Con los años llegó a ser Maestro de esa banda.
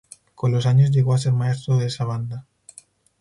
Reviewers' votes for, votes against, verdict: 2, 0, accepted